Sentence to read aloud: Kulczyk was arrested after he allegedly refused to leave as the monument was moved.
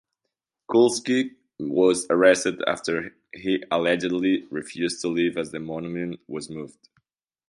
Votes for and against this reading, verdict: 1, 2, rejected